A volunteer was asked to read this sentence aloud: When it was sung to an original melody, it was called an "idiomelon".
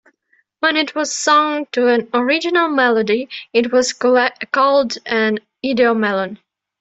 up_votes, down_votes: 2, 1